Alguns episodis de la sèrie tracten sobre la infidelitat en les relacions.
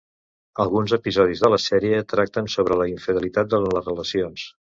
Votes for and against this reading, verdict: 1, 2, rejected